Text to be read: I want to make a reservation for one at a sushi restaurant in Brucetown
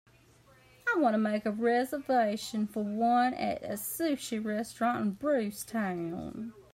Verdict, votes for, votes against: accepted, 2, 0